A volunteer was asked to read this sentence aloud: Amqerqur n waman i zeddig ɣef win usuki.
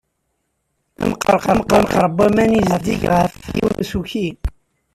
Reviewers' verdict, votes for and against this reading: rejected, 0, 2